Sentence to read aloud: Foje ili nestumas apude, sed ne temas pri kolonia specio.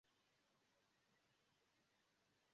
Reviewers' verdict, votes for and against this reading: rejected, 0, 2